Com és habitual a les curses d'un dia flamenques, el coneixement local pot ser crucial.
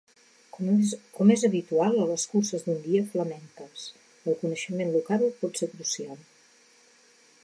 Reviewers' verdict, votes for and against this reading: rejected, 1, 2